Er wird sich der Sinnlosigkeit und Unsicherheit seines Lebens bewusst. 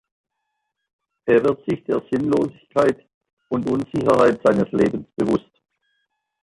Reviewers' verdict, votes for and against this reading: accepted, 2, 0